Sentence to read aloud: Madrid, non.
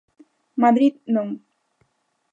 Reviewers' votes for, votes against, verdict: 2, 0, accepted